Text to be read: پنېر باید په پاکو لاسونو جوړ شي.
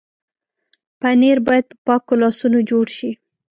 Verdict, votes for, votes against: accepted, 2, 0